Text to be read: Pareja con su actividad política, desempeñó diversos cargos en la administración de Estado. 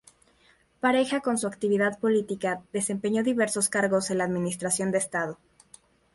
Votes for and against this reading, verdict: 2, 0, accepted